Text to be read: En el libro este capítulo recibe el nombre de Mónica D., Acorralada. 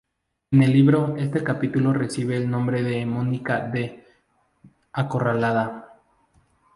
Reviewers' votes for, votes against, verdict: 4, 0, accepted